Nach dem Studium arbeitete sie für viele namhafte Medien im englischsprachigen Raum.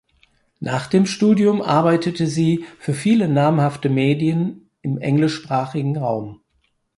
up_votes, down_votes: 4, 0